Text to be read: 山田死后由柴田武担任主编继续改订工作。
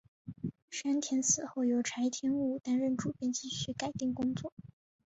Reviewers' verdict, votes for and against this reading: accepted, 2, 0